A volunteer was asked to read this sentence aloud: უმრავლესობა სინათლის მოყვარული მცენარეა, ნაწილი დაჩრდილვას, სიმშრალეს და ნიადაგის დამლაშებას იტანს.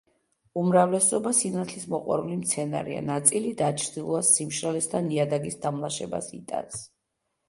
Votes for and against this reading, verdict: 2, 0, accepted